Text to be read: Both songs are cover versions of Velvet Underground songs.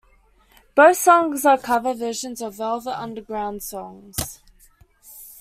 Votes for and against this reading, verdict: 2, 0, accepted